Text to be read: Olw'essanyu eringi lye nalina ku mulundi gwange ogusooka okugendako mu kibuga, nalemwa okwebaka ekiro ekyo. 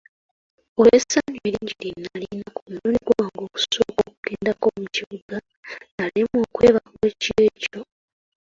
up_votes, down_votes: 0, 2